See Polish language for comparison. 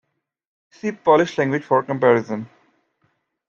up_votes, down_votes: 2, 0